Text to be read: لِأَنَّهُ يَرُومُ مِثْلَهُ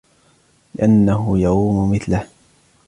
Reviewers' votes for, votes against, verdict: 2, 1, accepted